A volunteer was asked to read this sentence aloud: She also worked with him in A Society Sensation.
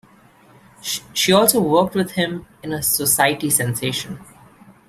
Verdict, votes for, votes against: rejected, 1, 2